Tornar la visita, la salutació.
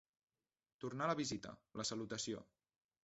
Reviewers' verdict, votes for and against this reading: rejected, 1, 2